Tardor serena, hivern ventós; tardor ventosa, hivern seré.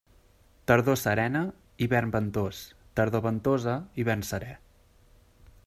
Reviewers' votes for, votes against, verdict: 2, 0, accepted